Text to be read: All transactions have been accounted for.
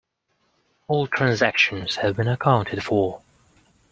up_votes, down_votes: 2, 0